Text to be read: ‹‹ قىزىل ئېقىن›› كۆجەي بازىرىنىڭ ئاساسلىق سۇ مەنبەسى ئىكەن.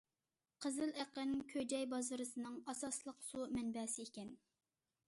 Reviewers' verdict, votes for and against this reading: rejected, 0, 2